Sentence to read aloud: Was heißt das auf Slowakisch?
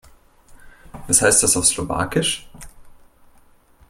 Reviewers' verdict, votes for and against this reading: accepted, 2, 0